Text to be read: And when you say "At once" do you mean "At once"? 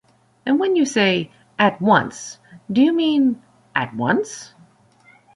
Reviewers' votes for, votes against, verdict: 2, 0, accepted